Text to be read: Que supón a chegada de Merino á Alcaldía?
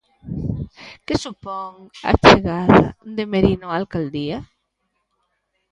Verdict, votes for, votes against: accepted, 2, 0